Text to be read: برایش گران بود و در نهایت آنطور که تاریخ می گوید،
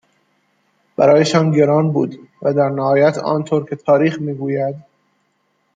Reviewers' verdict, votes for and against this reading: rejected, 0, 2